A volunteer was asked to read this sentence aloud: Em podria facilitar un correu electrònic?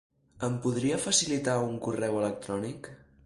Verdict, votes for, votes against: accepted, 2, 0